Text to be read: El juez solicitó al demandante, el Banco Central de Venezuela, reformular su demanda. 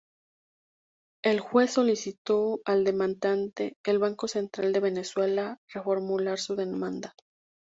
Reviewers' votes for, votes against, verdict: 0, 2, rejected